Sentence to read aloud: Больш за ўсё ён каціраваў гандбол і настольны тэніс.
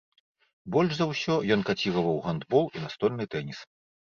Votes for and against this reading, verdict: 3, 0, accepted